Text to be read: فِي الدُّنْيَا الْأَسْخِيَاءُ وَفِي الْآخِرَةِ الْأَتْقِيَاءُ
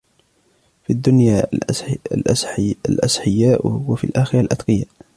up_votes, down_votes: 0, 2